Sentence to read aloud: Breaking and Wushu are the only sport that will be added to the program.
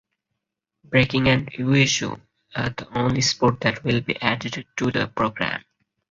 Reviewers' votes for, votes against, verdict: 0, 4, rejected